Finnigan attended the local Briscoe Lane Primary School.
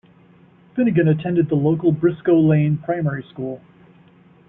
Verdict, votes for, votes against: rejected, 0, 2